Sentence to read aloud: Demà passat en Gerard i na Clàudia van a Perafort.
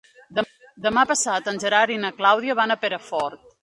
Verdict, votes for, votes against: rejected, 1, 2